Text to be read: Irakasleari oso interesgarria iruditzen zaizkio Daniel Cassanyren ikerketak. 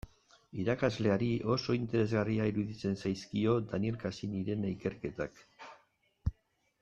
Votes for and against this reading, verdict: 2, 0, accepted